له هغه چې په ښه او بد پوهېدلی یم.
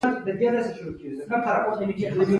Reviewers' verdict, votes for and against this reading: rejected, 1, 2